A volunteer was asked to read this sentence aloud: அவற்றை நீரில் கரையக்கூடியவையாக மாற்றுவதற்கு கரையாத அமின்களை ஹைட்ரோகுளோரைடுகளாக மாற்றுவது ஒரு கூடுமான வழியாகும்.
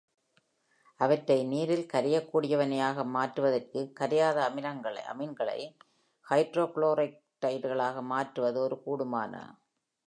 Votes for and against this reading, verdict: 0, 2, rejected